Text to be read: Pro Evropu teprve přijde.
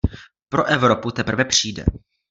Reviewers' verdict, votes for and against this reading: rejected, 1, 2